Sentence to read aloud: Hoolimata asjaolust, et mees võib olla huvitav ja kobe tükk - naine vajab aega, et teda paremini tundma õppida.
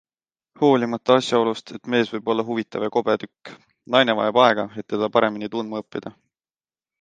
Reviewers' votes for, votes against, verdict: 2, 0, accepted